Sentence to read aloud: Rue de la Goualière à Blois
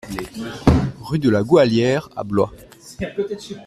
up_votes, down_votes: 2, 1